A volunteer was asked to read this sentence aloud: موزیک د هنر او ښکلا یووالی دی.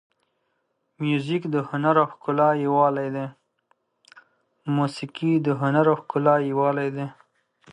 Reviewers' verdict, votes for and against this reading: rejected, 0, 2